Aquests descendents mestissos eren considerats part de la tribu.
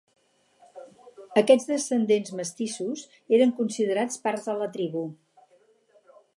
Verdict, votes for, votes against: rejected, 2, 2